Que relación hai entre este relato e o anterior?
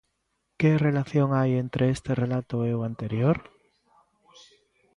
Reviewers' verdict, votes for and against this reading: accepted, 2, 1